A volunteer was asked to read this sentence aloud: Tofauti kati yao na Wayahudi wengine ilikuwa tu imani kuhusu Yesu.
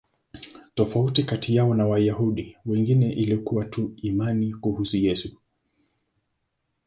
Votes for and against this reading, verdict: 2, 0, accepted